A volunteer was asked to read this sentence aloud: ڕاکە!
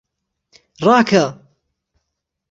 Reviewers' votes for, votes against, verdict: 3, 0, accepted